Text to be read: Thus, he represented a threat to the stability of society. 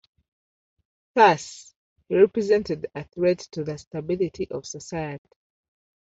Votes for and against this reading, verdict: 2, 0, accepted